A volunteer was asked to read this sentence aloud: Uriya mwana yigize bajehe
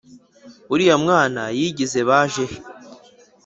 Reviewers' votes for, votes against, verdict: 2, 0, accepted